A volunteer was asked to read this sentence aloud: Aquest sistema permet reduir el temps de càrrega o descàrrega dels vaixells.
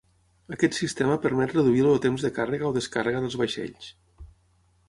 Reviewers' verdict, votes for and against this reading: rejected, 3, 6